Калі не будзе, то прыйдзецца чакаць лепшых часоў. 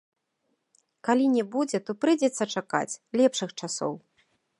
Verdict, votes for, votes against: accepted, 2, 0